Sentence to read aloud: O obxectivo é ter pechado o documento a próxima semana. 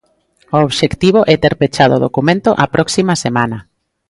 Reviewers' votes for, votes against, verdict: 2, 0, accepted